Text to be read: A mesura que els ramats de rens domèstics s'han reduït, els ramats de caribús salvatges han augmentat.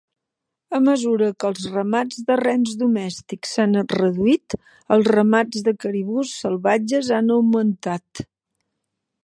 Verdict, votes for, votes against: accepted, 2, 0